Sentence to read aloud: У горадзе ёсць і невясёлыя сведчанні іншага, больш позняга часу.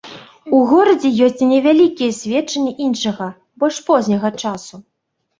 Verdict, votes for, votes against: rejected, 1, 2